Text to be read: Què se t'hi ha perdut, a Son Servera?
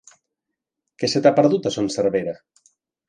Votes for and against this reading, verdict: 0, 2, rejected